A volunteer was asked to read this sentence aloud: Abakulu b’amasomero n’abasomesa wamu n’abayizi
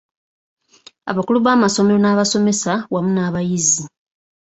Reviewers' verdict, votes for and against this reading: accepted, 2, 0